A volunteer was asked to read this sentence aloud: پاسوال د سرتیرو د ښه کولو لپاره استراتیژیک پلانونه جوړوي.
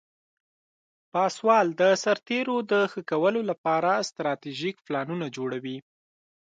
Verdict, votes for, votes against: accepted, 2, 0